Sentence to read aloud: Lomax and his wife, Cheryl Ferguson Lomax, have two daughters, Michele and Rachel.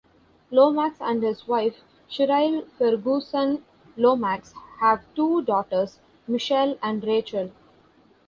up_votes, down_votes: 2, 0